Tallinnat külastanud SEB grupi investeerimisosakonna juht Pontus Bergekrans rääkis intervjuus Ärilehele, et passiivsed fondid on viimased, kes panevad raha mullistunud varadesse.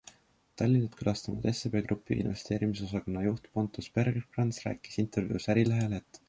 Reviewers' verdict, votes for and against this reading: rejected, 0, 2